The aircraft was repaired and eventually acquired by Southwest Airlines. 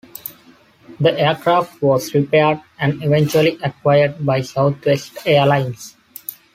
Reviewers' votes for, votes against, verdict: 2, 0, accepted